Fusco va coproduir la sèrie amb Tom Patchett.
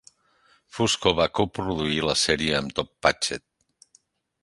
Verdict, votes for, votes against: accepted, 2, 0